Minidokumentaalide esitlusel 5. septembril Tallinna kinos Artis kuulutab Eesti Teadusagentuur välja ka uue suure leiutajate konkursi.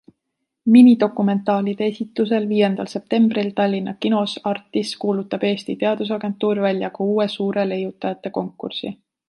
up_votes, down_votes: 0, 2